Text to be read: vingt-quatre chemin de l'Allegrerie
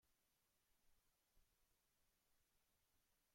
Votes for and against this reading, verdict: 0, 2, rejected